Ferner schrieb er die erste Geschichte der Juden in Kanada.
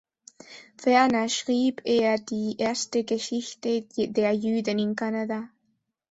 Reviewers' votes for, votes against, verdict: 1, 2, rejected